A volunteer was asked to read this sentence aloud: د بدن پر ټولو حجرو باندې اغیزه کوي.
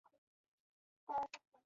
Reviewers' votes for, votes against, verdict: 0, 2, rejected